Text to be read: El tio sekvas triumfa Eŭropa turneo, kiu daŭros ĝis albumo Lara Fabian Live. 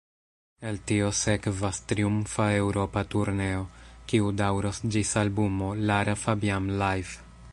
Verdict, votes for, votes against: rejected, 1, 2